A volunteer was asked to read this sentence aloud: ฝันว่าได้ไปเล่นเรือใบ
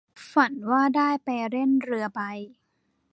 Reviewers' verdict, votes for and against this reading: accepted, 2, 0